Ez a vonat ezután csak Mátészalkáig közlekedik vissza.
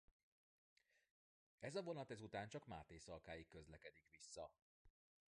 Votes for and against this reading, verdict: 0, 2, rejected